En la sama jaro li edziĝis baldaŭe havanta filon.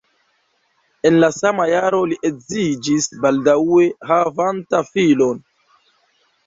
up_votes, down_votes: 2, 0